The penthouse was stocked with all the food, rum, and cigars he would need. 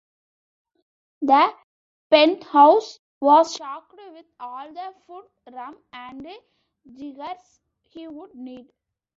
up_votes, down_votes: 0, 2